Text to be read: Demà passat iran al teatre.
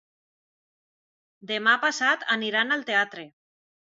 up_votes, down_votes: 0, 2